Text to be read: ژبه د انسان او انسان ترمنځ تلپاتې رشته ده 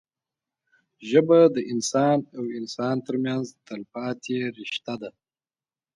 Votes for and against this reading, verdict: 2, 0, accepted